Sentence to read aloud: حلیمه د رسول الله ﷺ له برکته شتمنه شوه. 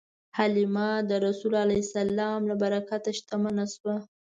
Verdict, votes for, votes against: accepted, 2, 0